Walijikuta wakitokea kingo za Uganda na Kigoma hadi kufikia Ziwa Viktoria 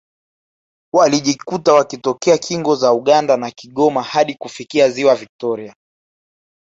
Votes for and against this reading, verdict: 1, 2, rejected